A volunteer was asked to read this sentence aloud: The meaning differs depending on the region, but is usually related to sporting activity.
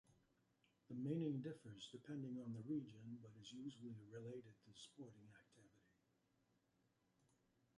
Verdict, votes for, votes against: accepted, 2, 0